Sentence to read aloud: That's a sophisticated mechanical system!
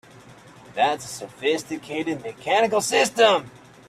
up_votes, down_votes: 2, 0